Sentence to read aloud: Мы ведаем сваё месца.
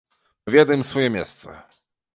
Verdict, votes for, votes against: rejected, 0, 2